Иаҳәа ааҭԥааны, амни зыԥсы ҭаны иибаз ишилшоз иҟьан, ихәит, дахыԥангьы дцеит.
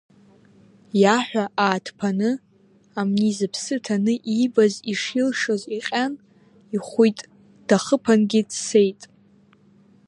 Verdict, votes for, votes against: rejected, 0, 2